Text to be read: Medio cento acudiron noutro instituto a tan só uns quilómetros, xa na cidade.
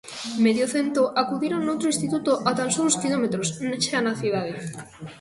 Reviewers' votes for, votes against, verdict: 1, 2, rejected